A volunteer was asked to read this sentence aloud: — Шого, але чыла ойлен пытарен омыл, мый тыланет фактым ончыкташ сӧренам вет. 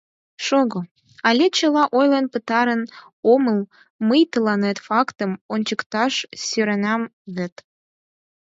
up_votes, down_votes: 4, 0